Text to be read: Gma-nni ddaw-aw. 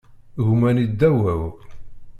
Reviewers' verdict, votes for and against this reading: accepted, 2, 0